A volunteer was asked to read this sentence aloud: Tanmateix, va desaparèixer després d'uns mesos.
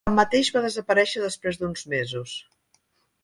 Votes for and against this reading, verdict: 0, 3, rejected